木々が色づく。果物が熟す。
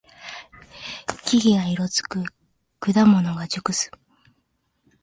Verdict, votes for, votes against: accepted, 2, 0